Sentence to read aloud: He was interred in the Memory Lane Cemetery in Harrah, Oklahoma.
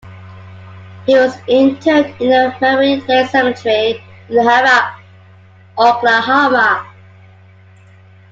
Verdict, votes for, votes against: accepted, 2, 1